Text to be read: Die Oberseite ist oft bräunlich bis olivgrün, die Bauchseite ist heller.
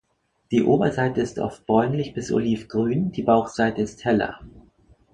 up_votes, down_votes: 2, 0